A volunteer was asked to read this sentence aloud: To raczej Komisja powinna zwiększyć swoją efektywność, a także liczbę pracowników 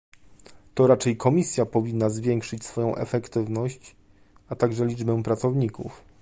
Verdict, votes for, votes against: accepted, 2, 0